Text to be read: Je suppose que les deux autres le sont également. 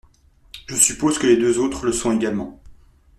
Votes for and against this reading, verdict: 2, 0, accepted